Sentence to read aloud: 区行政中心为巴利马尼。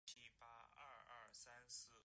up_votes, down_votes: 1, 2